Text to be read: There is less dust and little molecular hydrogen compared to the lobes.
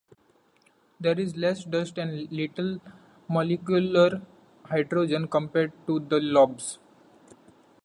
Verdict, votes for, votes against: rejected, 1, 2